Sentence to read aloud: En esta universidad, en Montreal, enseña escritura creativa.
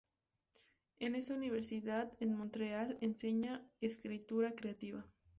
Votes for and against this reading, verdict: 2, 0, accepted